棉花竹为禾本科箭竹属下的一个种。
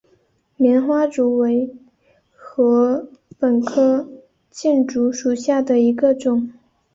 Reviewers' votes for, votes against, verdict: 1, 2, rejected